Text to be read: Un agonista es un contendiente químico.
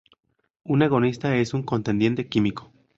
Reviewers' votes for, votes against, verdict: 2, 0, accepted